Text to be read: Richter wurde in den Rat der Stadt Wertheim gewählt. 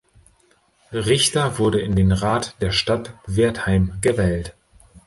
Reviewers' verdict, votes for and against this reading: accepted, 2, 0